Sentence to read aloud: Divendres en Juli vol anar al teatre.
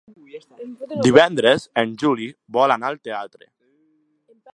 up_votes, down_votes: 0, 2